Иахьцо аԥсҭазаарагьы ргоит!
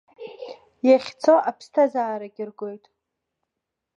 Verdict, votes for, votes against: rejected, 0, 2